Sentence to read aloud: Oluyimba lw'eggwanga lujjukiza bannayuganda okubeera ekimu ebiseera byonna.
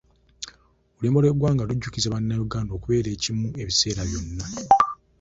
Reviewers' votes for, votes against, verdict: 0, 2, rejected